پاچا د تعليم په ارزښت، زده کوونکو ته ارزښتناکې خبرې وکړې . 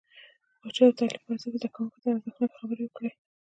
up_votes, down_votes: 1, 2